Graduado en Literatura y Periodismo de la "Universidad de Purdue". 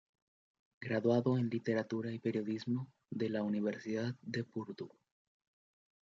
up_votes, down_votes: 1, 2